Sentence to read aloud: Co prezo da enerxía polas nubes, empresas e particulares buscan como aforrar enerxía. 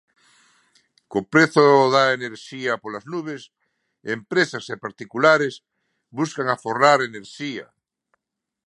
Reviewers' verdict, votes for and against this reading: rejected, 0, 2